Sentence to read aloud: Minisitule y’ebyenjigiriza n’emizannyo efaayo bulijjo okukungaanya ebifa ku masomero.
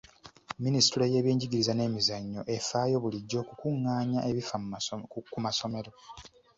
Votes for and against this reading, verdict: 1, 2, rejected